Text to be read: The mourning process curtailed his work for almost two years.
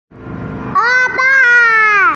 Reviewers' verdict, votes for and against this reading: rejected, 0, 2